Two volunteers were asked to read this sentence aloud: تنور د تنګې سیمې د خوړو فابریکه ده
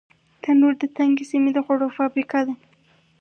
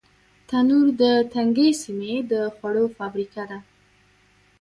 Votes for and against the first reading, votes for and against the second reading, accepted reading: 4, 0, 1, 2, first